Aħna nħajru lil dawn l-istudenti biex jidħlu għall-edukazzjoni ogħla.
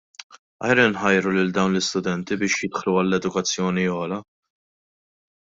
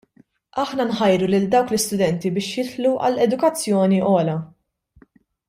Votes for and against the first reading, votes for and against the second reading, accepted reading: 1, 2, 2, 1, second